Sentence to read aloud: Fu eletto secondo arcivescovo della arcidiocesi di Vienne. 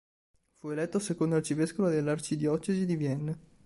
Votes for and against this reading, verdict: 3, 0, accepted